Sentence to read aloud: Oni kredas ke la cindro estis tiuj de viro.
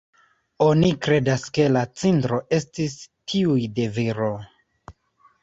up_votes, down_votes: 1, 2